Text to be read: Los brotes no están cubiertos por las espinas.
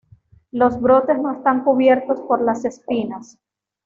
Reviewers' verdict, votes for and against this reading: accepted, 2, 0